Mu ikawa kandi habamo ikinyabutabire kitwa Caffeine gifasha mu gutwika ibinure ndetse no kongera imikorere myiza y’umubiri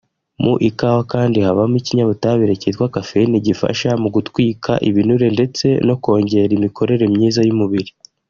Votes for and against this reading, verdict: 2, 0, accepted